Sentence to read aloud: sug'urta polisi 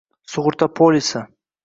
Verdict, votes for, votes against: accepted, 2, 1